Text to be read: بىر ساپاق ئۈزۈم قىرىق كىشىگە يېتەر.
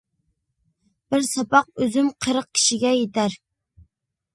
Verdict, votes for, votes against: accepted, 2, 0